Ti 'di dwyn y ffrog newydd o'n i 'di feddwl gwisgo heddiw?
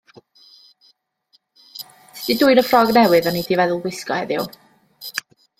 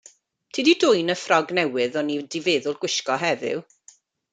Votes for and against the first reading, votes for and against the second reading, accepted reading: 1, 2, 2, 0, second